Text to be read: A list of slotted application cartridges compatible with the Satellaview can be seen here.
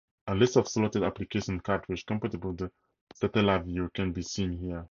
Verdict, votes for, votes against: accepted, 4, 2